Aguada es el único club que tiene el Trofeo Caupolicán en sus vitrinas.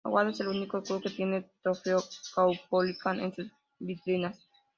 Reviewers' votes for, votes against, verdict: 0, 2, rejected